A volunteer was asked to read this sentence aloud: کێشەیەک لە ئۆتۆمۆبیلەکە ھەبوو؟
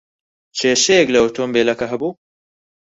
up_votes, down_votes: 4, 2